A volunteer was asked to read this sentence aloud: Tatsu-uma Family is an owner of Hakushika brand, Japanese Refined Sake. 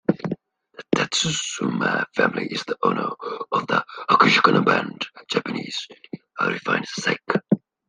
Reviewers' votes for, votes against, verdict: 0, 2, rejected